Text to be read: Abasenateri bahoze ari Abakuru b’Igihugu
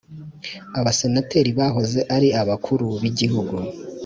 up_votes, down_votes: 1, 2